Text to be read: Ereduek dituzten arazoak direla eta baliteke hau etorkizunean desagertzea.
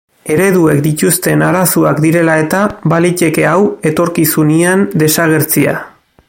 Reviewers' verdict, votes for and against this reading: accepted, 2, 1